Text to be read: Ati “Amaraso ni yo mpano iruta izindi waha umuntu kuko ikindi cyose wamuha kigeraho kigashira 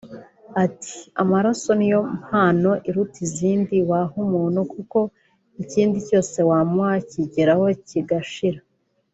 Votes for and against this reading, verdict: 2, 0, accepted